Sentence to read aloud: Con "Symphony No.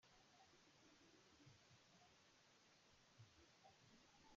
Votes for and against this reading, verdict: 0, 2, rejected